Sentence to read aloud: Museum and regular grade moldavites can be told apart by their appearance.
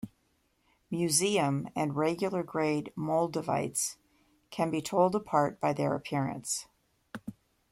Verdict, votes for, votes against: accepted, 2, 0